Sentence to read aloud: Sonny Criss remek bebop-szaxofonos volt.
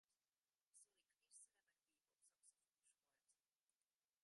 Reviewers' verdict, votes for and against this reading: rejected, 0, 2